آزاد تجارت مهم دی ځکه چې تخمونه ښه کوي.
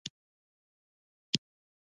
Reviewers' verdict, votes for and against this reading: accepted, 2, 0